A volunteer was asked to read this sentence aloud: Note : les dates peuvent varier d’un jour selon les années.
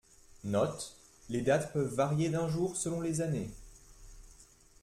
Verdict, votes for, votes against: accepted, 2, 0